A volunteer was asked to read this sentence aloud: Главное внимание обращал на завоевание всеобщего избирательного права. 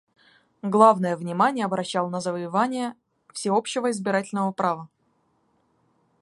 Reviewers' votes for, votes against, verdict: 2, 0, accepted